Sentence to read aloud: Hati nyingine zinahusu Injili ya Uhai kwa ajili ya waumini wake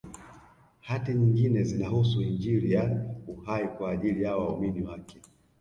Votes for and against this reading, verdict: 2, 0, accepted